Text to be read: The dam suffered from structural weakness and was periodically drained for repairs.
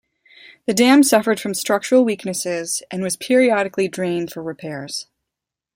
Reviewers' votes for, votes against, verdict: 0, 2, rejected